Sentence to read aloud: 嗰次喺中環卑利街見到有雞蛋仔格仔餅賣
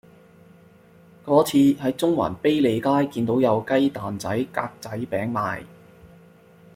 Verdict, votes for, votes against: accepted, 2, 0